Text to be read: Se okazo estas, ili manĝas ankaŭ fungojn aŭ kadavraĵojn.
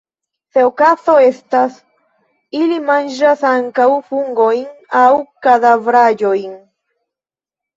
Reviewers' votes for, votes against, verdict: 0, 2, rejected